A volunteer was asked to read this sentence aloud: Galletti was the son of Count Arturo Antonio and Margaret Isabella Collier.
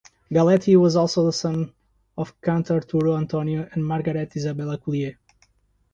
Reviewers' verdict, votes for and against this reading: rejected, 0, 2